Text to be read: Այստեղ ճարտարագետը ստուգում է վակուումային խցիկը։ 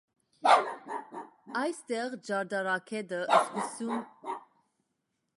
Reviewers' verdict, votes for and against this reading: rejected, 0, 2